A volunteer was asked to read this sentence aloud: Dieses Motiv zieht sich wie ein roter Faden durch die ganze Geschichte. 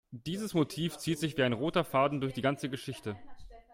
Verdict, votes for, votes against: accepted, 2, 0